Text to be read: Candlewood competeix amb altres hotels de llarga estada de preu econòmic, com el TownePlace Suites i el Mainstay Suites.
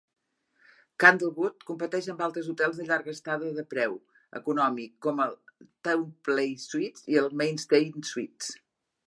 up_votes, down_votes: 2, 0